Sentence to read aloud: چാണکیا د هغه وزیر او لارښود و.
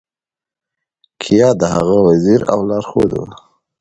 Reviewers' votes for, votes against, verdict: 2, 0, accepted